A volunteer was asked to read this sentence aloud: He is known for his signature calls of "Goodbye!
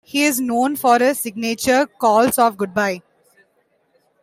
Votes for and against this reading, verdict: 2, 0, accepted